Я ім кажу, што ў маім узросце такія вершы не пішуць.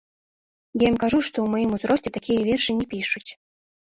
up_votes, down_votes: 1, 2